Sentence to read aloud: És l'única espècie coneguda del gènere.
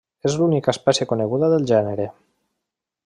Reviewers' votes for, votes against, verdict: 1, 2, rejected